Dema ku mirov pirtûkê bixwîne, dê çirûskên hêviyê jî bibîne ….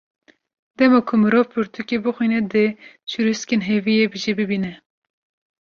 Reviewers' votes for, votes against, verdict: 2, 0, accepted